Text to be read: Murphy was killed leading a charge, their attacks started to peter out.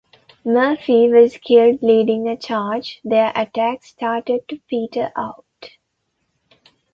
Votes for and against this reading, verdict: 2, 1, accepted